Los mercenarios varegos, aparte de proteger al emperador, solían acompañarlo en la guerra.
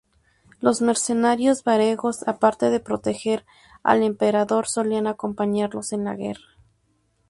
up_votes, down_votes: 0, 2